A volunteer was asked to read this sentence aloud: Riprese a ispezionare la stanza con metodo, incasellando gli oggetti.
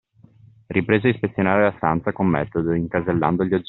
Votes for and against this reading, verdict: 0, 2, rejected